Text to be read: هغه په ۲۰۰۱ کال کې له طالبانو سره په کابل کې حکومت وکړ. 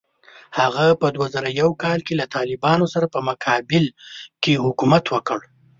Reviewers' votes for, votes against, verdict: 0, 2, rejected